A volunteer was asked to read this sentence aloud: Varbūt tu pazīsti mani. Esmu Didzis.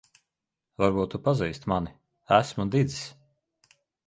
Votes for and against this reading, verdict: 3, 0, accepted